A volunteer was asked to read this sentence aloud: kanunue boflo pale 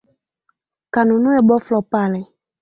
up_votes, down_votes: 3, 1